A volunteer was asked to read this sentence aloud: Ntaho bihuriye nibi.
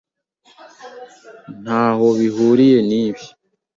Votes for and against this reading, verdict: 2, 0, accepted